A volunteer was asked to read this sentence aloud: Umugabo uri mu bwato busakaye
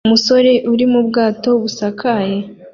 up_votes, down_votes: 1, 2